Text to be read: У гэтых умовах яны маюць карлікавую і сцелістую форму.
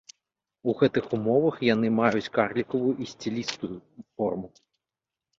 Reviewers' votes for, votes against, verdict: 0, 2, rejected